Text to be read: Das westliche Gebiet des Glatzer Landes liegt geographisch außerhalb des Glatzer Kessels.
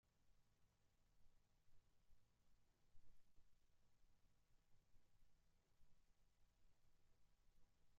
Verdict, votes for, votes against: rejected, 0, 2